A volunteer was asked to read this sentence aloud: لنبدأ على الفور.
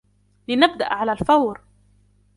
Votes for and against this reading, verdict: 1, 2, rejected